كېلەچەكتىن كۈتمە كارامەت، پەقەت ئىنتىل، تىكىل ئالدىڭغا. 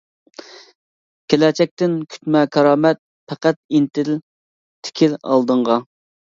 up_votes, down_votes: 2, 0